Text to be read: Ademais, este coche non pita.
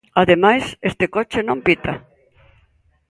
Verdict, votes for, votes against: accepted, 2, 0